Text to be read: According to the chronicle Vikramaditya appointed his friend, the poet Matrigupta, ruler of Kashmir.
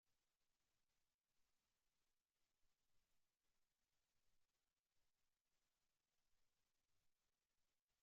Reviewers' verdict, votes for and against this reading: rejected, 0, 2